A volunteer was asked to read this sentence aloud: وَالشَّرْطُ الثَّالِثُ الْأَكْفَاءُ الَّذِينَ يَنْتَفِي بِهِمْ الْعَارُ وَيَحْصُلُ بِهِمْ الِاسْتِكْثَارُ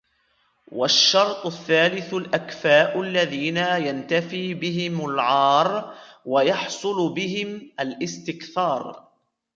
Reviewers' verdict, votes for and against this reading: rejected, 0, 2